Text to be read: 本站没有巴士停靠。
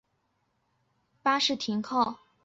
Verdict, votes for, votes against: rejected, 2, 3